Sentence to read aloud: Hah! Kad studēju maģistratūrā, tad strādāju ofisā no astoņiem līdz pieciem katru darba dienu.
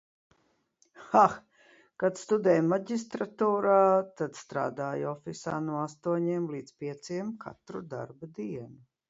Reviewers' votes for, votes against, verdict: 2, 0, accepted